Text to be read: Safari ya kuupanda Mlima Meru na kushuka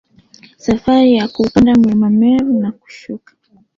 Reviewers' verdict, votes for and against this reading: accepted, 2, 1